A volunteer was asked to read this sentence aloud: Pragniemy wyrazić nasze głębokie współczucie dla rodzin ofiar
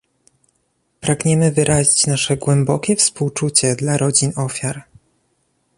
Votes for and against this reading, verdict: 2, 0, accepted